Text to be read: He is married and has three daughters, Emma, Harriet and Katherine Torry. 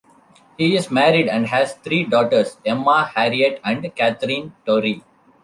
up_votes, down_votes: 2, 0